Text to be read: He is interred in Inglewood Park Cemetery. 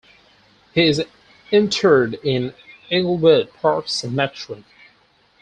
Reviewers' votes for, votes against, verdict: 0, 4, rejected